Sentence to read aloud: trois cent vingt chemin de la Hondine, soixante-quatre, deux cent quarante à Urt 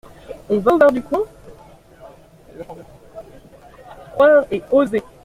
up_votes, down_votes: 0, 2